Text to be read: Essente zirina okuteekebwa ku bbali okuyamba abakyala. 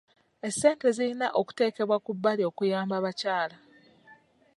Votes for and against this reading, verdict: 2, 0, accepted